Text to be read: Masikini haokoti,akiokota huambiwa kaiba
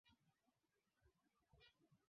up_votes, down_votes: 0, 2